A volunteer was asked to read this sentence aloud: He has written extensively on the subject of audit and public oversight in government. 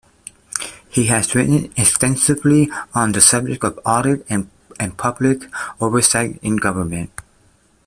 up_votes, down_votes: 2, 0